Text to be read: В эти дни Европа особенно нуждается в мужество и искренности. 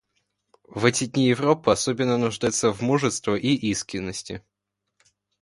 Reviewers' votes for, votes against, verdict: 2, 0, accepted